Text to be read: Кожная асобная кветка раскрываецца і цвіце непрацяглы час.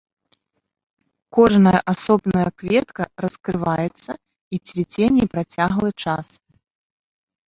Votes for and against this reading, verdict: 0, 2, rejected